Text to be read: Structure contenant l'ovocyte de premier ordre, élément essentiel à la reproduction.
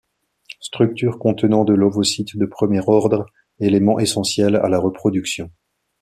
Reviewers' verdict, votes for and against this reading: rejected, 0, 2